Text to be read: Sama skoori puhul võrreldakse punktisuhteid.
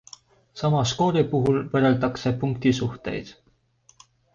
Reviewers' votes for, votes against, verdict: 2, 0, accepted